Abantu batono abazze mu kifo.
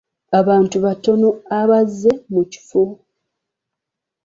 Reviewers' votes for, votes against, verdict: 3, 0, accepted